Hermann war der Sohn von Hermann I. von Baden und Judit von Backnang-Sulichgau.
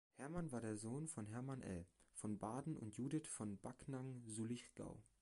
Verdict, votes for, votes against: rejected, 1, 2